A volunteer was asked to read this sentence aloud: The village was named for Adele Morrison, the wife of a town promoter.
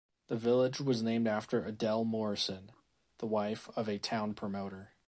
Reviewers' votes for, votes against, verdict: 0, 2, rejected